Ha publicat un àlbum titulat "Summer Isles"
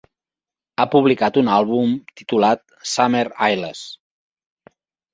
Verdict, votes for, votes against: accepted, 2, 0